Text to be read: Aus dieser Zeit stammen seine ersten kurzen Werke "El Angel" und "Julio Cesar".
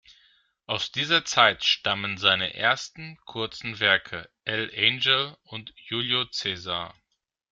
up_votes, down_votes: 1, 2